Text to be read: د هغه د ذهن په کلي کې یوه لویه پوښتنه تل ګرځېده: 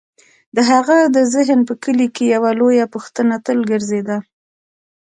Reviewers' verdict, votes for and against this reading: rejected, 0, 2